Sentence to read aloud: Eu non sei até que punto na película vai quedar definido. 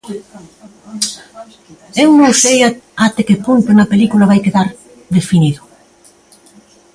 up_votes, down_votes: 0, 2